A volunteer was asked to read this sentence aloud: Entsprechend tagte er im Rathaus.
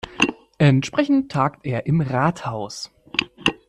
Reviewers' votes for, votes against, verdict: 1, 2, rejected